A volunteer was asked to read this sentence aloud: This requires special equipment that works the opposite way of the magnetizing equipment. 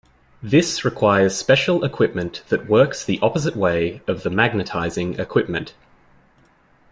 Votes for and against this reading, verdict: 2, 0, accepted